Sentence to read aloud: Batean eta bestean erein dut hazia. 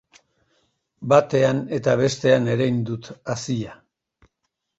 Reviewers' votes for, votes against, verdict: 2, 0, accepted